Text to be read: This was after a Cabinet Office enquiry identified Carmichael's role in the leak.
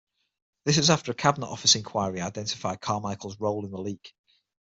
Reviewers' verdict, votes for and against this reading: accepted, 6, 3